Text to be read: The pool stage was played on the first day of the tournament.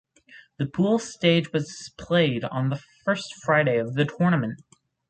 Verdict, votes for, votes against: rejected, 2, 4